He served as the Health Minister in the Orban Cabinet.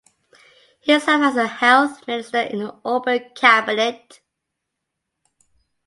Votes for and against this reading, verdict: 1, 2, rejected